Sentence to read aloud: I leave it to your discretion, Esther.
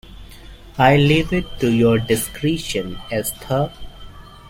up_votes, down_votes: 2, 0